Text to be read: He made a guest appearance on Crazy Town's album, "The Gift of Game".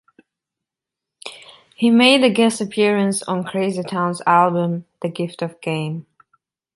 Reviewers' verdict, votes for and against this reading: accepted, 2, 0